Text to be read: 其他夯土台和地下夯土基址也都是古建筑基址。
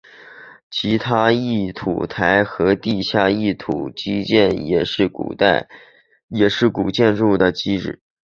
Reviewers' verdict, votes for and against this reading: rejected, 0, 4